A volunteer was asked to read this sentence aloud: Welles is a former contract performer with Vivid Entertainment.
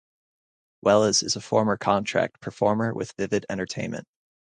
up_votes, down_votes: 0, 2